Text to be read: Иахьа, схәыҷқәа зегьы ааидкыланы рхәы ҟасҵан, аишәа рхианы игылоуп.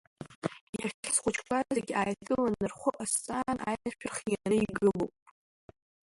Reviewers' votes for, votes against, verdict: 1, 2, rejected